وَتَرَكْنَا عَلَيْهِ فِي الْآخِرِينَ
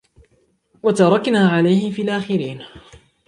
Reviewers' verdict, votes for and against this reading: accepted, 2, 0